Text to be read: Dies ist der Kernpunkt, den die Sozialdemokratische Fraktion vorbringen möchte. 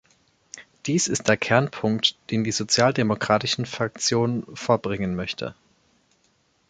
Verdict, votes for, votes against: rejected, 1, 4